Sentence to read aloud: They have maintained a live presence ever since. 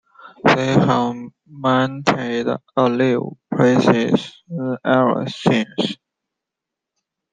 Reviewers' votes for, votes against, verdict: 0, 2, rejected